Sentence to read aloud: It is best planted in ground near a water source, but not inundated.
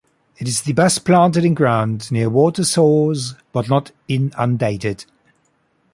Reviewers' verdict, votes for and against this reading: rejected, 1, 2